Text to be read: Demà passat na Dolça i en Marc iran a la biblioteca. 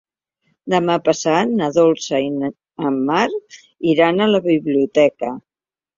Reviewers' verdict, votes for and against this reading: rejected, 1, 2